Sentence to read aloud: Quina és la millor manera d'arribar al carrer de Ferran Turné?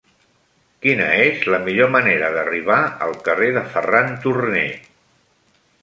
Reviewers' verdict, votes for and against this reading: accepted, 2, 0